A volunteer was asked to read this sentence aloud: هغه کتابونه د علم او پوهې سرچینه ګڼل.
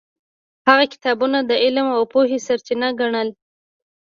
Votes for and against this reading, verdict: 2, 0, accepted